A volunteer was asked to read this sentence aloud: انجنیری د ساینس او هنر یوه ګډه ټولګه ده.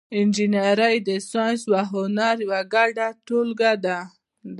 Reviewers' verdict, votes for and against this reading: accepted, 2, 0